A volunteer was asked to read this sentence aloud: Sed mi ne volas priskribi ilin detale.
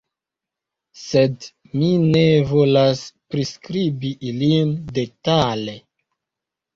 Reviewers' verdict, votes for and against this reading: accepted, 2, 1